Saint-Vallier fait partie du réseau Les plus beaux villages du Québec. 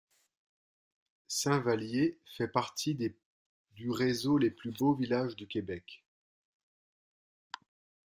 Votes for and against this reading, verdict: 0, 2, rejected